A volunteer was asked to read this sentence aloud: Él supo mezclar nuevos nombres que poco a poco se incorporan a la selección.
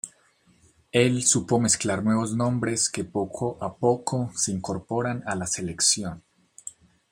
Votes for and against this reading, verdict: 2, 0, accepted